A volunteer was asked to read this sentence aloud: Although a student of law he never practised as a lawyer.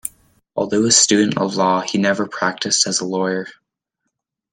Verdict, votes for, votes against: accepted, 2, 0